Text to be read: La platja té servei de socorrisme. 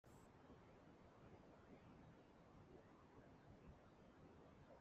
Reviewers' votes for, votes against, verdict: 0, 2, rejected